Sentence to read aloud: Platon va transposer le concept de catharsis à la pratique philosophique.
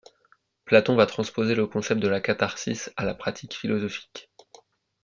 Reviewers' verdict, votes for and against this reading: rejected, 1, 2